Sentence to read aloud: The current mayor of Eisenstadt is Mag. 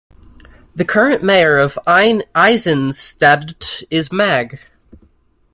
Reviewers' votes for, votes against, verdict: 1, 2, rejected